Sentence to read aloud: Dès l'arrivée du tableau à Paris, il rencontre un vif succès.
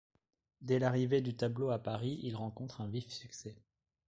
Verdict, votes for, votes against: accepted, 2, 0